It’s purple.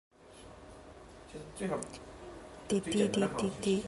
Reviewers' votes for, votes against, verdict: 0, 2, rejected